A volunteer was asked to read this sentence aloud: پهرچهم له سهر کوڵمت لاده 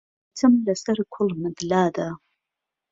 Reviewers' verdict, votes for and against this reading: rejected, 1, 3